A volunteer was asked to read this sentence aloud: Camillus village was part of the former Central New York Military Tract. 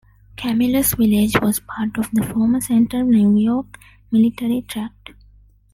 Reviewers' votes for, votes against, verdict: 2, 1, accepted